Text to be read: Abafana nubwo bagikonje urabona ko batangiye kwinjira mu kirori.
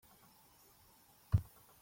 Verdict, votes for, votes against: rejected, 0, 2